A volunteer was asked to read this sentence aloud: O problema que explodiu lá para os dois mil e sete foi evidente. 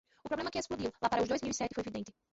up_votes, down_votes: 1, 2